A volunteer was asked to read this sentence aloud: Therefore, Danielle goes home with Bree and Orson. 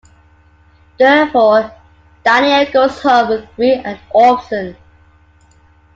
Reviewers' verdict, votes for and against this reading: accepted, 2, 0